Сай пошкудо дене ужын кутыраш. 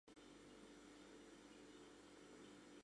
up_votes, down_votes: 1, 3